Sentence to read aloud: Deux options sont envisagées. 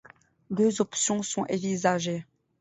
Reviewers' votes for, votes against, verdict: 0, 2, rejected